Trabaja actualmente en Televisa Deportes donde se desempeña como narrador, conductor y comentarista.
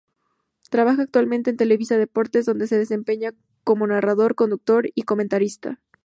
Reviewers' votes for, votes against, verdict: 6, 0, accepted